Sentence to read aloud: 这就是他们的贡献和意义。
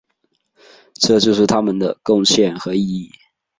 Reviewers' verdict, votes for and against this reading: accepted, 2, 0